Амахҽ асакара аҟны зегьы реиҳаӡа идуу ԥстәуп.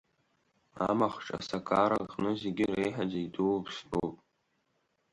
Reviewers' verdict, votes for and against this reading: accepted, 4, 2